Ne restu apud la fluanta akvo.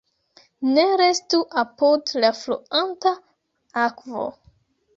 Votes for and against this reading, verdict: 2, 0, accepted